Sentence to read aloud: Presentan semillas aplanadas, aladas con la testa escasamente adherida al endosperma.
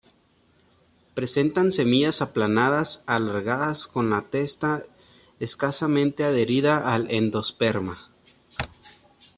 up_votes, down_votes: 1, 2